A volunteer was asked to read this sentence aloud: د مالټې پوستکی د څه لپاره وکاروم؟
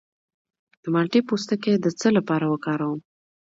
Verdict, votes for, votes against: accepted, 2, 0